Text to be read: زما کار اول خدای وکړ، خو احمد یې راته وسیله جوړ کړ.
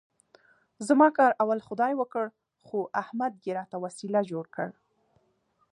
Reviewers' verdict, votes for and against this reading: accepted, 2, 0